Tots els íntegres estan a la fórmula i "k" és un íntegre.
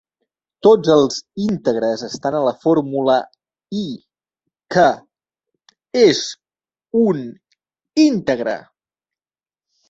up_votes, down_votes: 1, 2